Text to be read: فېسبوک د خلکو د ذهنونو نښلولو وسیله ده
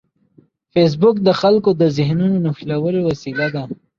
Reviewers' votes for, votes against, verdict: 2, 0, accepted